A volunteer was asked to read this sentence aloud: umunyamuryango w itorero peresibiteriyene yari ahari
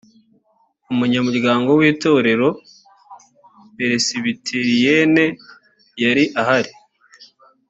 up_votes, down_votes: 2, 0